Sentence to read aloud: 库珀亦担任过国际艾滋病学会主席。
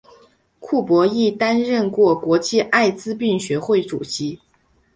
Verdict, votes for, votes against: accepted, 5, 0